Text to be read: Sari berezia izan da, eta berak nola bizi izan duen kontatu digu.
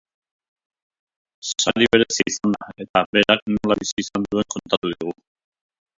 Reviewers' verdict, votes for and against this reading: rejected, 0, 2